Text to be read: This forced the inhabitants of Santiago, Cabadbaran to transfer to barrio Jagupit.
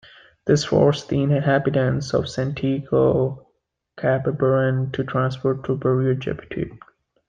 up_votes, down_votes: 0, 2